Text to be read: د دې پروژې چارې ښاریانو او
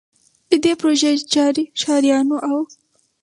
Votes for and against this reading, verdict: 2, 2, rejected